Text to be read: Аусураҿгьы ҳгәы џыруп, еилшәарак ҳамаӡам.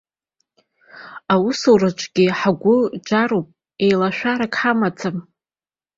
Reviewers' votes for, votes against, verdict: 1, 2, rejected